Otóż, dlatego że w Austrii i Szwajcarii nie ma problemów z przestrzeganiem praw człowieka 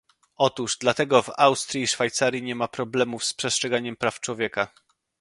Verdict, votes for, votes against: rejected, 0, 2